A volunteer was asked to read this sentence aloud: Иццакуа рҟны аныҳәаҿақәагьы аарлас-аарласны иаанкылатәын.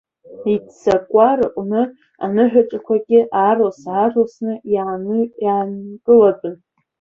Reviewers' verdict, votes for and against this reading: rejected, 0, 2